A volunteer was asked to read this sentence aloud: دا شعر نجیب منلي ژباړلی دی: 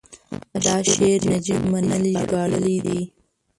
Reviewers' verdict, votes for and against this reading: rejected, 1, 2